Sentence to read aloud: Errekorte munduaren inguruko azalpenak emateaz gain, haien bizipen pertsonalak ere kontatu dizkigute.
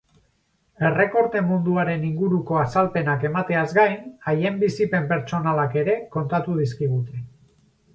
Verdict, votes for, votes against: rejected, 2, 2